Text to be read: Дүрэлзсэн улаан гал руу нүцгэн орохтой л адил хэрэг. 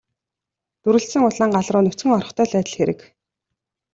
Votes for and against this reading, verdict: 2, 0, accepted